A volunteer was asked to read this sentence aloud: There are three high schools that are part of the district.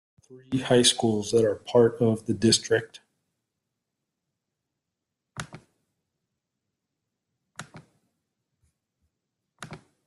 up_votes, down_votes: 0, 2